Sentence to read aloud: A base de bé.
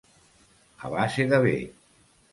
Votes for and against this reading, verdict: 2, 0, accepted